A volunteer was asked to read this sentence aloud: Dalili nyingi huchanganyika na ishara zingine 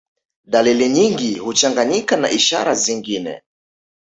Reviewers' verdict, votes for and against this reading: accepted, 2, 0